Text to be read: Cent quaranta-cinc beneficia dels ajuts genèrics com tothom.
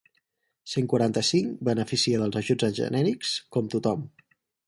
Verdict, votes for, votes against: rejected, 2, 4